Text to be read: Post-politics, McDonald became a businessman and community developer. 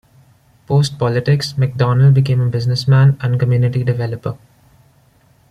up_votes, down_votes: 2, 1